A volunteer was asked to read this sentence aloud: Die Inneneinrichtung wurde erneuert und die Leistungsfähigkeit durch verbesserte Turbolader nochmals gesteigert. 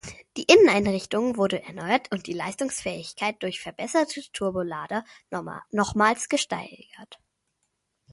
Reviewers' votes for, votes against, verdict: 0, 2, rejected